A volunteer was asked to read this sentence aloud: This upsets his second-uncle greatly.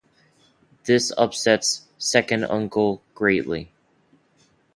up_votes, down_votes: 0, 2